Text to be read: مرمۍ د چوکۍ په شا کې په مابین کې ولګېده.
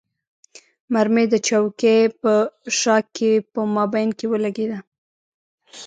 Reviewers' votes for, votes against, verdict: 1, 2, rejected